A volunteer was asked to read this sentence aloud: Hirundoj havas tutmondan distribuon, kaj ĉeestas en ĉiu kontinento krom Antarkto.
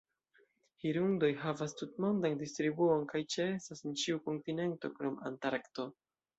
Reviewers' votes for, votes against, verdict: 2, 0, accepted